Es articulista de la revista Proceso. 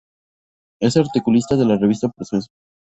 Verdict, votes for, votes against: accepted, 2, 0